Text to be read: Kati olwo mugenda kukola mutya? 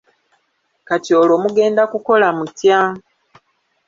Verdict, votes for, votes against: rejected, 1, 2